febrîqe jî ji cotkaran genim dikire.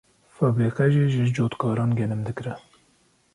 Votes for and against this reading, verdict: 2, 0, accepted